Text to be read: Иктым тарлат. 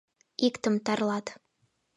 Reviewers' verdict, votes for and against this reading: accepted, 2, 0